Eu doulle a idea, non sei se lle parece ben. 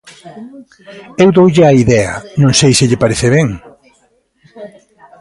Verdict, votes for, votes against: rejected, 1, 2